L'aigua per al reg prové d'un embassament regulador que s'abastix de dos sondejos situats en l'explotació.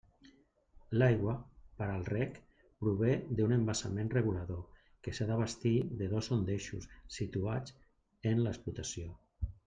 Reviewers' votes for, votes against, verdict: 0, 2, rejected